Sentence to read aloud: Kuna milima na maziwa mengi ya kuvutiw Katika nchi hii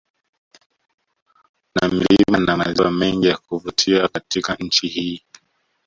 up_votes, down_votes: 0, 2